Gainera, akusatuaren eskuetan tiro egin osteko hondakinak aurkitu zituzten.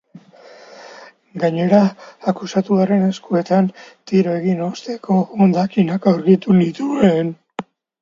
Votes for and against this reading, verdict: 0, 2, rejected